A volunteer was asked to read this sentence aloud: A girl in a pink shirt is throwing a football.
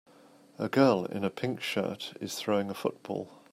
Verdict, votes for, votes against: accepted, 2, 0